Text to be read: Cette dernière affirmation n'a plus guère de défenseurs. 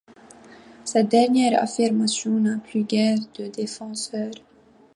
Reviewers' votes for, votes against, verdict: 2, 0, accepted